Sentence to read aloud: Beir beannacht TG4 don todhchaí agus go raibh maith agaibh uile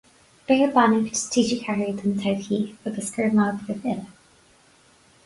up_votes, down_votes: 0, 2